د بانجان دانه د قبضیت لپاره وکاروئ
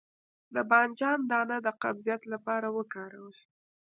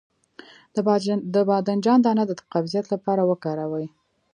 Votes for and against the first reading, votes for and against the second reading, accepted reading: 0, 2, 2, 0, second